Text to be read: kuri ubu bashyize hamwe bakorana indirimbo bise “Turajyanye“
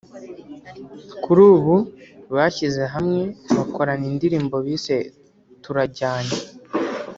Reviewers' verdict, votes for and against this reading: rejected, 0, 2